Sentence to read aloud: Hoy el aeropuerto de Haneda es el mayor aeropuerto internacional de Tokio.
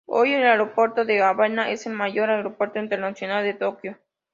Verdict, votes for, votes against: rejected, 0, 2